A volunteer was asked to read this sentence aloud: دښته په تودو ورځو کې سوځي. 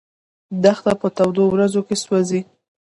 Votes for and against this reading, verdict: 2, 0, accepted